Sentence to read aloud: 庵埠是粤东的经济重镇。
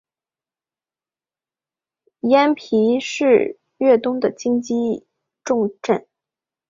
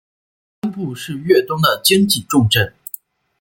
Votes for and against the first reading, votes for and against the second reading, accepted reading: 3, 0, 1, 2, first